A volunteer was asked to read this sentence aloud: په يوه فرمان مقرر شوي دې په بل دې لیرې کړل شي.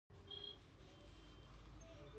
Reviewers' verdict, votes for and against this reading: rejected, 1, 2